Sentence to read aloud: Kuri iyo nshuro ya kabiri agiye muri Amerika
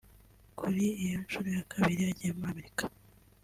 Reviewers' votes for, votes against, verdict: 1, 2, rejected